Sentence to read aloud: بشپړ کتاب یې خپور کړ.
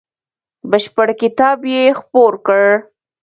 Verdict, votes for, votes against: rejected, 0, 2